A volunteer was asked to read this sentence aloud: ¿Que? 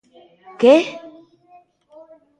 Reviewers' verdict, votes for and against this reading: rejected, 1, 2